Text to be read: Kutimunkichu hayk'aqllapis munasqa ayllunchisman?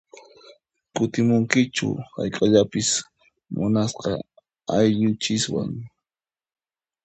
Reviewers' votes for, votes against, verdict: 0, 2, rejected